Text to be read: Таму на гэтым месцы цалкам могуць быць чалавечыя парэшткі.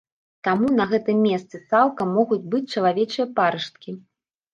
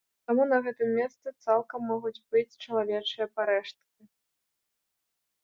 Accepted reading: second